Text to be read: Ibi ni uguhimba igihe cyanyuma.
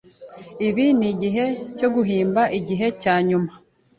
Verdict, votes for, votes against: accepted, 2, 0